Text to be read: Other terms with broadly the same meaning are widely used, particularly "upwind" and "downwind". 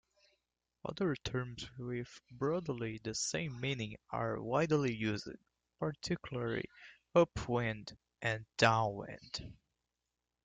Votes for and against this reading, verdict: 1, 2, rejected